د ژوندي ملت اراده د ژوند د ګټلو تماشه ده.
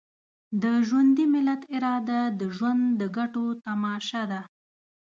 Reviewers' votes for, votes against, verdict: 1, 2, rejected